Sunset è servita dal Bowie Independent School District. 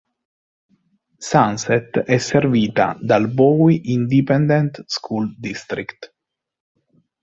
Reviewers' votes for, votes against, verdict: 2, 1, accepted